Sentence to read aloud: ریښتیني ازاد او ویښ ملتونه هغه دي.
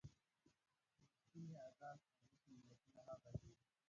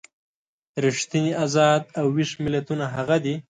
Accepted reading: second